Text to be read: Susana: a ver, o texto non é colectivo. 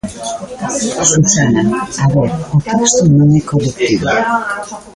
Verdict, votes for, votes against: rejected, 0, 2